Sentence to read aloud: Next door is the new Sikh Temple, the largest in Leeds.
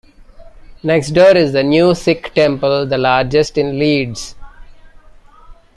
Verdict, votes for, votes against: rejected, 1, 2